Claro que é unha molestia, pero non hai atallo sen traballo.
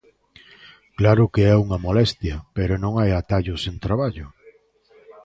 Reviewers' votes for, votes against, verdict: 2, 0, accepted